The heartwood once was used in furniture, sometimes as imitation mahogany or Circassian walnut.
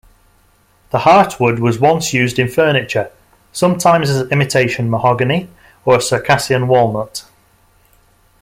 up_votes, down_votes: 1, 2